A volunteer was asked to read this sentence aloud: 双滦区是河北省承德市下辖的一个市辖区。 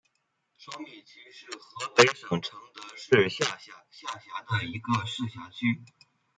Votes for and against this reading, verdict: 0, 2, rejected